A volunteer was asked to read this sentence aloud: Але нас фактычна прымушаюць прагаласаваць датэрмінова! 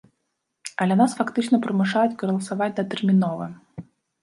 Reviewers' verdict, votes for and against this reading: rejected, 0, 2